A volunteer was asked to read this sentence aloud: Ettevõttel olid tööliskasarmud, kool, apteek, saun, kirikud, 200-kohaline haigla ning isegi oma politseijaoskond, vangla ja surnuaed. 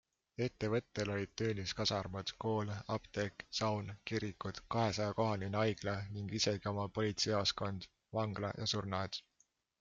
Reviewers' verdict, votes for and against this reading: rejected, 0, 2